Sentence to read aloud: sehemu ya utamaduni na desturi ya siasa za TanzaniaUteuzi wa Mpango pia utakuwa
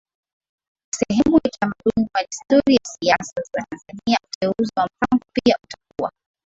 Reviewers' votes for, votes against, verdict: 0, 2, rejected